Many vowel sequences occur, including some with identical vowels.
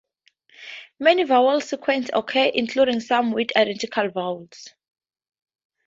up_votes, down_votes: 2, 4